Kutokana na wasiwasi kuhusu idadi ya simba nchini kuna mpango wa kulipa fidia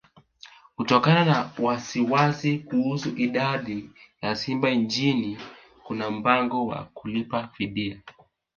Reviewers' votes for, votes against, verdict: 2, 0, accepted